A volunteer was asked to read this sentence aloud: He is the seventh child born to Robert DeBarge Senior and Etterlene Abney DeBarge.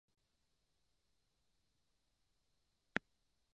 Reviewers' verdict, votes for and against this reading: rejected, 0, 2